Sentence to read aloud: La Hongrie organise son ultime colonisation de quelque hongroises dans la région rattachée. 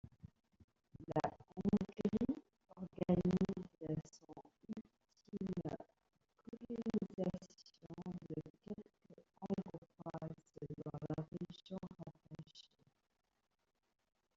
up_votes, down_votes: 0, 2